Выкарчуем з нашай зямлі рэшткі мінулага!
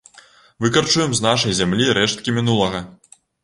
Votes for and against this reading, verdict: 2, 0, accepted